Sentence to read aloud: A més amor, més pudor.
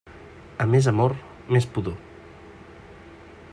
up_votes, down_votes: 3, 0